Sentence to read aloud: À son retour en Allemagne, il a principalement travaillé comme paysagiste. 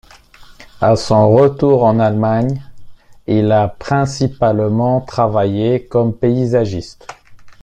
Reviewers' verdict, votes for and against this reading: accepted, 2, 1